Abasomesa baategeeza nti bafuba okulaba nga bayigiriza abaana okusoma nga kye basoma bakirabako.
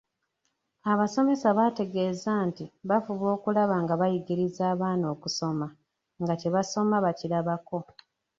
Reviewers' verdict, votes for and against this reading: accepted, 2, 1